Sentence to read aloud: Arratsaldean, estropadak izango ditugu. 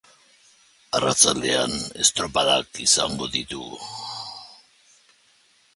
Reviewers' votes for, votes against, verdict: 2, 0, accepted